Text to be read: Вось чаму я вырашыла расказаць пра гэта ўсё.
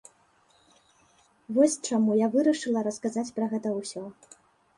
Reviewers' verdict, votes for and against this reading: accepted, 2, 0